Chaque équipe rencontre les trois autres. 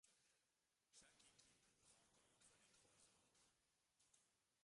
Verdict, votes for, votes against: rejected, 0, 2